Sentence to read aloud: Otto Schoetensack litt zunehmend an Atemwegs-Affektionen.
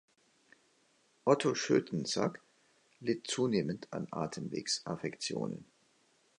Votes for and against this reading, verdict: 2, 0, accepted